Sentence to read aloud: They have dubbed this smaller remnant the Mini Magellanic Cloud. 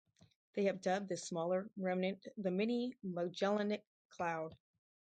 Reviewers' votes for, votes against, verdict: 0, 4, rejected